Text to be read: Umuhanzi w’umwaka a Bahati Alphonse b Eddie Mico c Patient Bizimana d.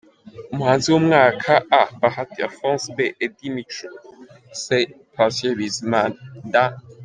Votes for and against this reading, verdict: 2, 0, accepted